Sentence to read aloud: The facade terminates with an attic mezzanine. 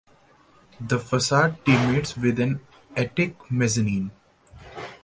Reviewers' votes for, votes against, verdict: 1, 2, rejected